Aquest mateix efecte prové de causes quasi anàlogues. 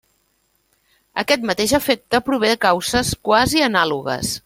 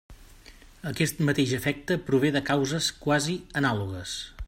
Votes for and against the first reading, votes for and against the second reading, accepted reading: 1, 2, 3, 0, second